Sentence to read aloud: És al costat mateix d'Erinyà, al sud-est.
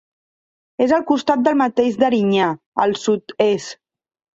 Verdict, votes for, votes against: rejected, 1, 2